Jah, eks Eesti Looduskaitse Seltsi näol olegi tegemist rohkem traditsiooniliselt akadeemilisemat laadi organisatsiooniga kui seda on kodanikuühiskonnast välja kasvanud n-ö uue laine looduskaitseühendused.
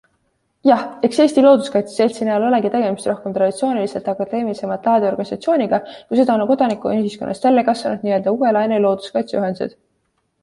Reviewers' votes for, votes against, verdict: 2, 0, accepted